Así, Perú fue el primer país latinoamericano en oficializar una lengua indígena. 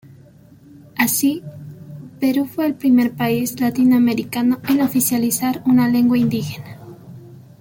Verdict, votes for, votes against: accepted, 2, 0